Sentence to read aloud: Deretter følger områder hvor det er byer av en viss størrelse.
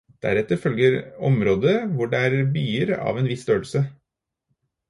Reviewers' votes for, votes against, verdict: 2, 2, rejected